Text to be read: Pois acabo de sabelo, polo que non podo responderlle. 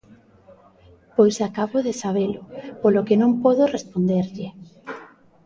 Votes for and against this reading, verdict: 2, 0, accepted